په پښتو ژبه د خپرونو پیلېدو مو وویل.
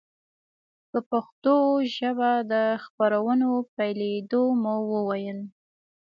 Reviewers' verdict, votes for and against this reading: accepted, 2, 0